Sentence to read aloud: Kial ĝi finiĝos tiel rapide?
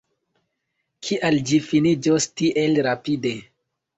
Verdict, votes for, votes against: accepted, 2, 0